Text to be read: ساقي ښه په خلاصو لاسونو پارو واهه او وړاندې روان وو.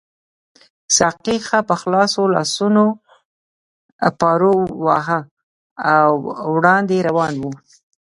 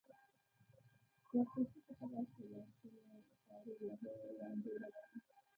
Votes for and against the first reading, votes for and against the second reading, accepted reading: 2, 0, 1, 2, first